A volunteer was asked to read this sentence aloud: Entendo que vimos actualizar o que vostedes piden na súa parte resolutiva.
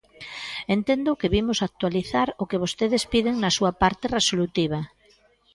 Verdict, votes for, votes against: accepted, 2, 1